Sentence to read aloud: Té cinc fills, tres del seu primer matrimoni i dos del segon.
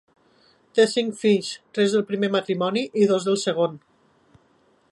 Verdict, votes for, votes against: rejected, 0, 2